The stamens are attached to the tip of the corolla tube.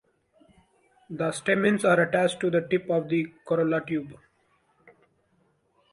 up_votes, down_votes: 2, 0